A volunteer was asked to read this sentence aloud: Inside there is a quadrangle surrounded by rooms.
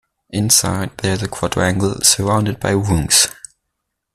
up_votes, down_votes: 2, 1